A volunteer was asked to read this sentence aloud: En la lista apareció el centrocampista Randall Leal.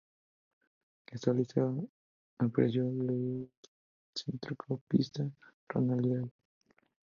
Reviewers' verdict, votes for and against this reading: rejected, 0, 2